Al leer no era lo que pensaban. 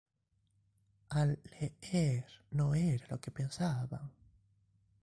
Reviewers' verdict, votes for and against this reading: accepted, 2, 0